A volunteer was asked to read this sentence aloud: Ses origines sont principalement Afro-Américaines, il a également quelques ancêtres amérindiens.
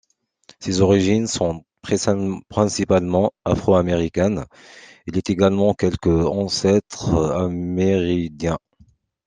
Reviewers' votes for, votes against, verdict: 0, 2, rejected